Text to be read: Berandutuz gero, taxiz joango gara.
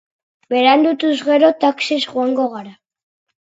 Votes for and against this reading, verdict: 2, 2, rejected